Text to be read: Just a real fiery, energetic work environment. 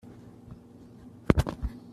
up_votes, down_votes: 1, 2